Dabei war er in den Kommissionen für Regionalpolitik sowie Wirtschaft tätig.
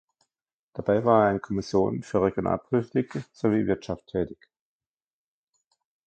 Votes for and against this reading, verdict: 0, 2, rejected